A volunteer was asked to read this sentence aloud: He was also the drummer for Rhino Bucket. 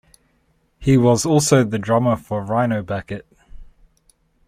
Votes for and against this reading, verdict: 2, 0, accepted